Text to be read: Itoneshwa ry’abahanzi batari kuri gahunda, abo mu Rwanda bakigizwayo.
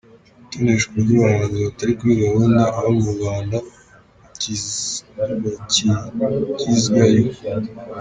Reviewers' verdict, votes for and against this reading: rejected, 1, 2